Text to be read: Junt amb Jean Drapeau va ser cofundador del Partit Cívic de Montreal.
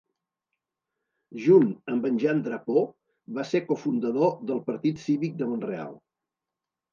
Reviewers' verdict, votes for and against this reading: rejected, 0, 2